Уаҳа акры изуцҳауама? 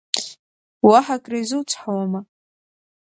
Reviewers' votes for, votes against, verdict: 4, 0, accepted